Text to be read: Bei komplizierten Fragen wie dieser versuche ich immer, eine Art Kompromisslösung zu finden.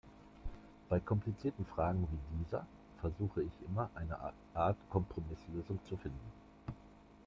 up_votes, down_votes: 2, 1